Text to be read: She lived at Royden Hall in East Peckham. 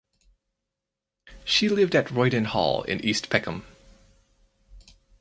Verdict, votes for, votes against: accepted, 4, 0